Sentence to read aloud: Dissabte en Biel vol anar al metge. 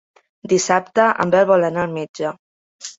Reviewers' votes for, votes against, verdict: 1, 2, rejected